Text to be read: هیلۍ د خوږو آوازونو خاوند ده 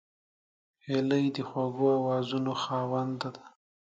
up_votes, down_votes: 2, 1